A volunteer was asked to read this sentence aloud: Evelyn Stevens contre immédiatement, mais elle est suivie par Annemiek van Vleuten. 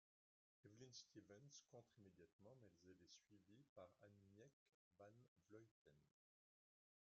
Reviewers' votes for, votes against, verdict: 0, 2, rejected